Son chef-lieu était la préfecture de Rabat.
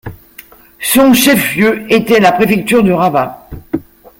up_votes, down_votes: 0, 2